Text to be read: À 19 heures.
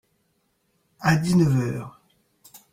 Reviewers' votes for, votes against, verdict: 0, 2, rejected